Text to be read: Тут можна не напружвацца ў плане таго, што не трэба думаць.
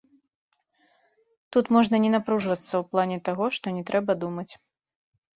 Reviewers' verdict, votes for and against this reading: accepted, 2, 0